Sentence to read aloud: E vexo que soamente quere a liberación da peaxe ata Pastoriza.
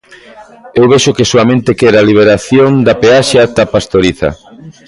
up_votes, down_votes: 1, 2